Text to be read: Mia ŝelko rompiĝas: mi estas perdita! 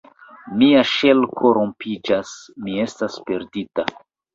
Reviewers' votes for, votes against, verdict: 2, 0, accepted